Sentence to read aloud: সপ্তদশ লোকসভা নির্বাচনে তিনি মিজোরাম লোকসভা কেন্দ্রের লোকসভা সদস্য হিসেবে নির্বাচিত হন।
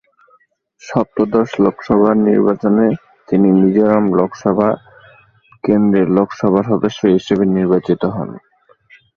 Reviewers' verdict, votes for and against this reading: rejected, 0, 2